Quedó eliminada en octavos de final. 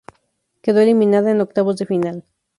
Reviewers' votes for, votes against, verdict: 2, 0, accepted